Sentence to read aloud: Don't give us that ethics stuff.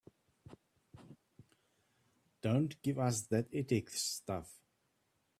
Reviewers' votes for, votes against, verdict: 2, 0, accepted